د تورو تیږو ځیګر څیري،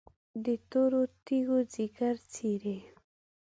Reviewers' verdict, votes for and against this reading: accepted, 3, 0